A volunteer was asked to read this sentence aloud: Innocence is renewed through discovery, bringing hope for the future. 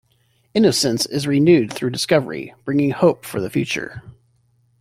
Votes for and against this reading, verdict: 2, 0, accepted